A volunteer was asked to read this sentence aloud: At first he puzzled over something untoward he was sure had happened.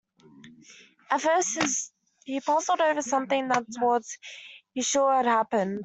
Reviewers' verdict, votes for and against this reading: rejected, 0, 2